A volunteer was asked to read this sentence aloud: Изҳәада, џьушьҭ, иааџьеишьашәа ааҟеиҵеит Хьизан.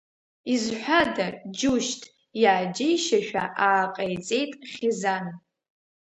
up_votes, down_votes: 2, 0